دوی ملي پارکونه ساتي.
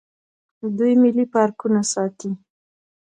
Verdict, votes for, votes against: rejected, 1, 2